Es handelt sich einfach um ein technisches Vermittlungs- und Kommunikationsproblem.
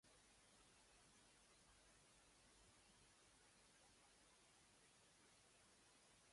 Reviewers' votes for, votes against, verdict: 0, 2, rejected